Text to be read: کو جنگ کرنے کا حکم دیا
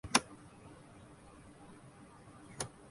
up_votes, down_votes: 1, 3